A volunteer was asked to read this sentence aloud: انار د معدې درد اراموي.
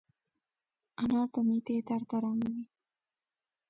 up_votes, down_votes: 2, 0